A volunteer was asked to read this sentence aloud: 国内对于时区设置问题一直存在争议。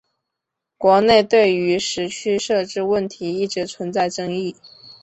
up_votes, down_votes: 3, 0